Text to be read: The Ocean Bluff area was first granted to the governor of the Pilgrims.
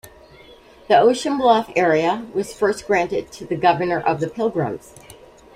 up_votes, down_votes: 2, 0